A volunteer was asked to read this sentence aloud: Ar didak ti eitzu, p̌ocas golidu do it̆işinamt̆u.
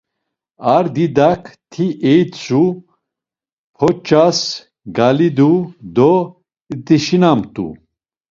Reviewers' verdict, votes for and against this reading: rejected, 1, 2